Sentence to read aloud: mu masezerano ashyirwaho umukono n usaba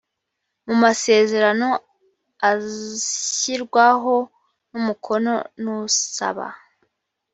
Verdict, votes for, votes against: rejected, 1, 2